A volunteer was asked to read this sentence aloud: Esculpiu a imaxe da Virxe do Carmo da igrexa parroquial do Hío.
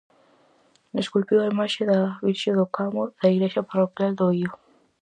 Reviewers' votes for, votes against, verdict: 0, 4, rejected